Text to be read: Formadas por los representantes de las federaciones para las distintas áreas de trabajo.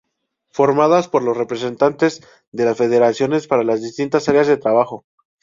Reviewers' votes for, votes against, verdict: 4, 0, accepted